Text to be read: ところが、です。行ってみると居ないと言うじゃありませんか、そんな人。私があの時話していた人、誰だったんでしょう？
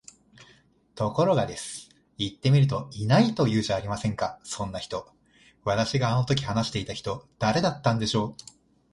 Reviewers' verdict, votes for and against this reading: accepted, 2, 0